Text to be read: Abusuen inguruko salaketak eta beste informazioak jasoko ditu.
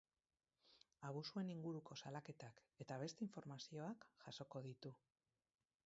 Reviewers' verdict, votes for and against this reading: rejected, 2, 2